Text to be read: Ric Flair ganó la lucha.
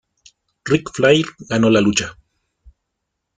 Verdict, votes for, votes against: accepted, 2, 0